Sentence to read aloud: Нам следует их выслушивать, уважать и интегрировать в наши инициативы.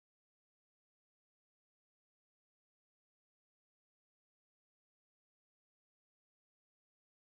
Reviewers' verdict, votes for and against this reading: rejected, 0, 2